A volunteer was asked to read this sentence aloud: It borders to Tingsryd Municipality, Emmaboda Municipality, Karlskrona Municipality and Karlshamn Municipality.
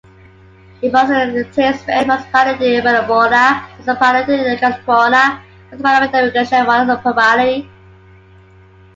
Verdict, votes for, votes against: rejected, 0, 2